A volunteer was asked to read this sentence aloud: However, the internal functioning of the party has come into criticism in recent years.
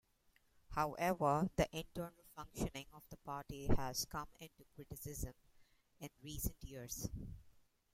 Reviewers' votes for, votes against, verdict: 2, 0, accepted